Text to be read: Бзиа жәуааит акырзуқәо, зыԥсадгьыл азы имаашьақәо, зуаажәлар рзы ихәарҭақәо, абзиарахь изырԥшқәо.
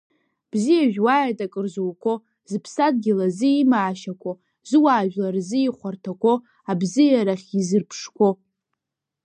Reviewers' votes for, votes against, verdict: 1, 2, rejected